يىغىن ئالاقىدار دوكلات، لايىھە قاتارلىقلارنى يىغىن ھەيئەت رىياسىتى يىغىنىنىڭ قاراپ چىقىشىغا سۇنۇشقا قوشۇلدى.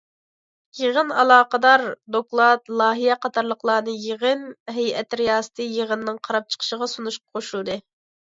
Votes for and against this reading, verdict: 2, 0, accepted